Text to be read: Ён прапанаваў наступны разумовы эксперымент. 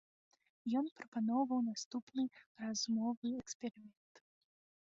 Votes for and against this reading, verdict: 0, 2, rejected